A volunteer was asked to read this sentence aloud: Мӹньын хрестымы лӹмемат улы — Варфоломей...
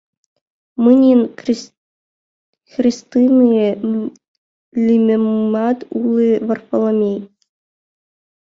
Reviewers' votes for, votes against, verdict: 0, 5, rejected